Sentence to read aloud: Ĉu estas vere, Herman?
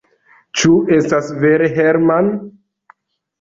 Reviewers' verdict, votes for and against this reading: accepted, 2, 1